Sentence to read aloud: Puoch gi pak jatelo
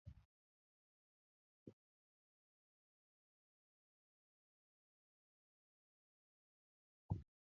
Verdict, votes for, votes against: rejected, 1, 2